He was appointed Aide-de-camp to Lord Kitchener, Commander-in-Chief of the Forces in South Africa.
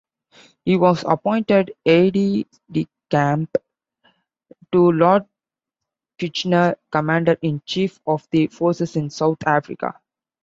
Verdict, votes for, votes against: rejected, 2, 3